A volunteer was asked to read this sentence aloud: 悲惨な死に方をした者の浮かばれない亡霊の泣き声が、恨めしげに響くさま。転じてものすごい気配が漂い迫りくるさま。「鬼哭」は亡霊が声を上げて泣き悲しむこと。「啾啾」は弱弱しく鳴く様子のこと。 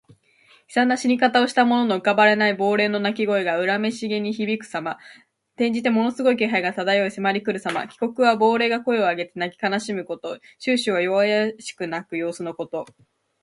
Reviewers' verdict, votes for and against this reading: accepted, 2, 0